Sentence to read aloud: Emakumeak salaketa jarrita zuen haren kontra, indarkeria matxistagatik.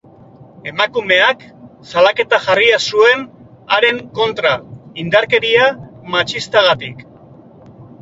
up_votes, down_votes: 0, 2